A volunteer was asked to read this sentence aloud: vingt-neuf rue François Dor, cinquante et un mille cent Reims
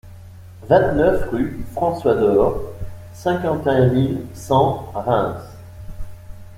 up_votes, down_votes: 2, 0